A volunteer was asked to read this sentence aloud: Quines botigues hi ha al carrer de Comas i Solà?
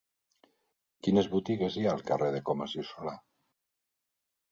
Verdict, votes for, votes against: accepted, 3, 0